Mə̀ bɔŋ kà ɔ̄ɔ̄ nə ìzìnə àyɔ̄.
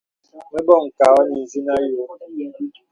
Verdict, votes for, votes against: accepted, 2, 0